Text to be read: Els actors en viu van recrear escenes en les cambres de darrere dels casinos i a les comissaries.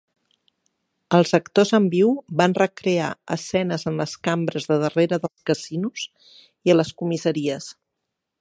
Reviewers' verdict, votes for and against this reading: accepted, 6, 0